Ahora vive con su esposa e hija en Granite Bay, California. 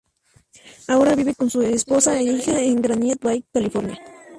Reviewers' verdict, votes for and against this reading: accepted, 2, 0